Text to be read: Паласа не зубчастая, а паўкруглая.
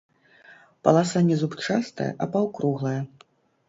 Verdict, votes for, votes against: accepted, 2, 0